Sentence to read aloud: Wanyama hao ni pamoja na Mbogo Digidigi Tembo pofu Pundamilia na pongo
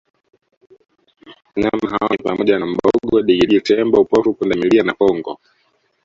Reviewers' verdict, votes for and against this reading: rejected, 0, 2